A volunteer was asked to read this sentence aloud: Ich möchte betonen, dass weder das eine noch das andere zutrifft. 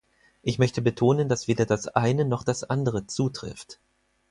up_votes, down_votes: 4, 0